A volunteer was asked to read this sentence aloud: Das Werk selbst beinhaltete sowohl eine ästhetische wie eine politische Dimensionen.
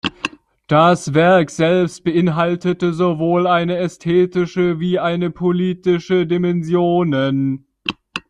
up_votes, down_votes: 0, 2